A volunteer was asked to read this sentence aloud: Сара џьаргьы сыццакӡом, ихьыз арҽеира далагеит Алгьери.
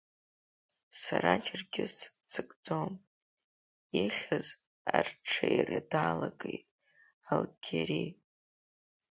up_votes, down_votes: 4, 2